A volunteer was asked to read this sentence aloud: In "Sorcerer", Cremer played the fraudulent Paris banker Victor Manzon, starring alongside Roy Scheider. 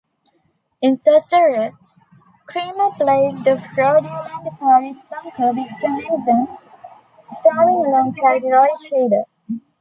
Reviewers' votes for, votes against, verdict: 0, 2, rejected